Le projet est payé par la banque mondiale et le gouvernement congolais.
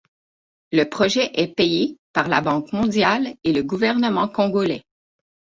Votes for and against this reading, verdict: 6, 0, accepted